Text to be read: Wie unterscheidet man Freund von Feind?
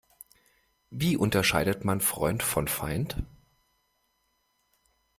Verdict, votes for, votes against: accepted, 2, 0